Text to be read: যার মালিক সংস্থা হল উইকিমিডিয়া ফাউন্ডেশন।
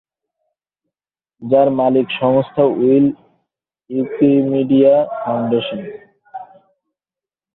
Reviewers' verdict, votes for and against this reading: rejected, 1, 4